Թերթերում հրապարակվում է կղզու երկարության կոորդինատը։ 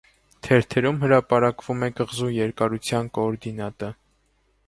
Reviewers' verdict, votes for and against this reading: accepted, 2, 0